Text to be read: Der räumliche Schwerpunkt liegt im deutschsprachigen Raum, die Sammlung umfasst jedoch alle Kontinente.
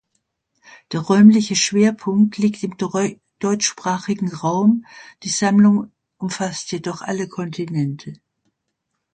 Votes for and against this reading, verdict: 1, 2, rejected